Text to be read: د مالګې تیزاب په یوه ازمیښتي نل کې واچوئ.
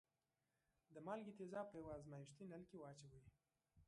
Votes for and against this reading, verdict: 2, 1, accepted